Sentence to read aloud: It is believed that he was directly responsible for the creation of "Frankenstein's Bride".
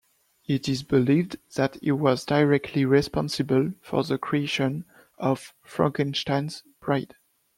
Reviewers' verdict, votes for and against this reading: accepted, 2, 0